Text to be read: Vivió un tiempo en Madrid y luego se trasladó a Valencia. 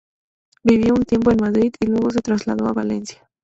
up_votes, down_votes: 2, 0